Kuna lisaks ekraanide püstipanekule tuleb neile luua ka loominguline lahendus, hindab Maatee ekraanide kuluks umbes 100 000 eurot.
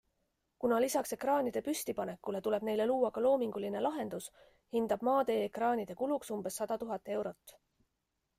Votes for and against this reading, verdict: 0, 2, rejected